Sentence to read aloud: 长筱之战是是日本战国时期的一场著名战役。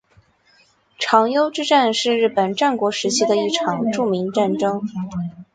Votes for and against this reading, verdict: 5, 2, accepted